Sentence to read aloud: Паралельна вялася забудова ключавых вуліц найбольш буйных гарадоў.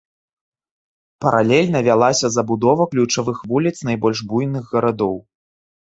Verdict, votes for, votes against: rejected, 1, 3